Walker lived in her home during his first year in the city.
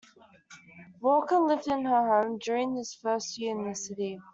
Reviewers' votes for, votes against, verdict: 2, 0, accepted